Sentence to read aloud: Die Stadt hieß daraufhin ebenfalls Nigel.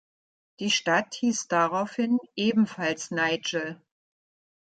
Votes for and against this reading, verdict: 2, 0, accepted